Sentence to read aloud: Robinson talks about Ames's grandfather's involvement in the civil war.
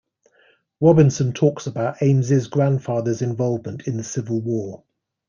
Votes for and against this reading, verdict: 2, 1, accepted